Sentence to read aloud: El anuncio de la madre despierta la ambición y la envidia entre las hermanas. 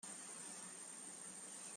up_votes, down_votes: 0, 2